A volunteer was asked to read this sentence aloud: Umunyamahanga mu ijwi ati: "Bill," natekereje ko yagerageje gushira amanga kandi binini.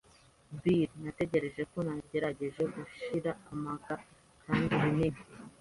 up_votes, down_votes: 1, 2